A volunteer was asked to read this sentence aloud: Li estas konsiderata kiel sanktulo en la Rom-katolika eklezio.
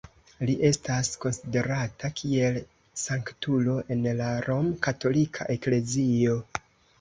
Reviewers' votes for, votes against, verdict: 1, 2, rejected